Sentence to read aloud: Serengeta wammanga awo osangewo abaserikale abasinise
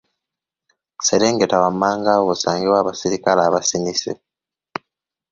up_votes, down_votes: 2, 1